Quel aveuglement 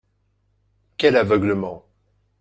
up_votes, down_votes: 4, 0